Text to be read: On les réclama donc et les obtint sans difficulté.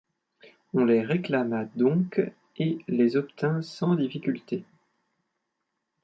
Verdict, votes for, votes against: accepted, 2, 0